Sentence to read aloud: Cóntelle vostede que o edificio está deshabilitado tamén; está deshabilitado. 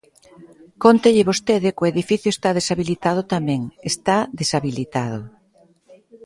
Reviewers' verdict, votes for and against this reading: accepted, 2, 0